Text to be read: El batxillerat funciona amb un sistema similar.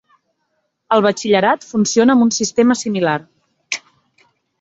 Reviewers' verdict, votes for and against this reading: accepted, 3, 1